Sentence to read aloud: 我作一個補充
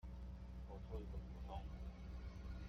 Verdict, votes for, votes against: rejected, 1, 2